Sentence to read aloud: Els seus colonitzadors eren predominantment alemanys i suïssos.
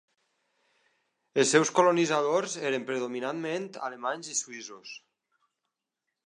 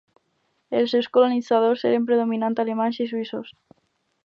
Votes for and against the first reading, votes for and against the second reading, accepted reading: 2, 0, 0, 2, first